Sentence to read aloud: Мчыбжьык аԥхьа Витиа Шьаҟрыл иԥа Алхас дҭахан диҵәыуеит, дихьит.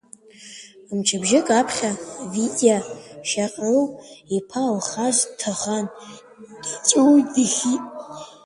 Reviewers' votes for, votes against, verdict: 2, 0, accepted